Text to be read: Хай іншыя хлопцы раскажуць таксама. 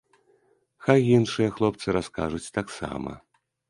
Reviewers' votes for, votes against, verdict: 2, 0, accepted